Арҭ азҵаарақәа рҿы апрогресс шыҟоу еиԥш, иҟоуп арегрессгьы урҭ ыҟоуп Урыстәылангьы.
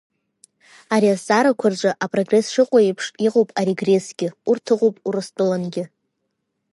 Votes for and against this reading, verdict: 0, 2, rejected